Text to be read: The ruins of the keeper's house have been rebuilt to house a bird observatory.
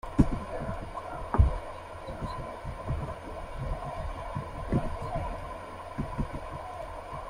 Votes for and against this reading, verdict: 1, 2, rejected